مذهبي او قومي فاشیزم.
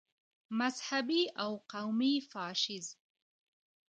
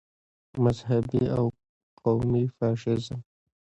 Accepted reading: first